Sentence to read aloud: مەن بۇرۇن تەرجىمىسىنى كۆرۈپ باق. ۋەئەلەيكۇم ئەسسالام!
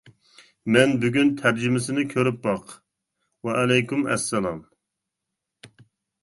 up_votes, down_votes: 0, 2